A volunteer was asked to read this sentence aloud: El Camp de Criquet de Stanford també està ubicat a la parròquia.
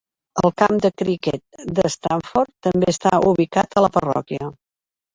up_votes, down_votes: 1, 2